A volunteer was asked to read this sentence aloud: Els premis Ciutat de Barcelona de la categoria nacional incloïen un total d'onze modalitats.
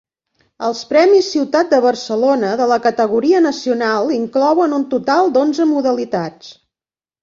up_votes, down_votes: 1, 2